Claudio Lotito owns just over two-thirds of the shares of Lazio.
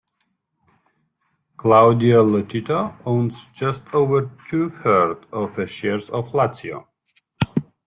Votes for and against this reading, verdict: 2, 1, accepted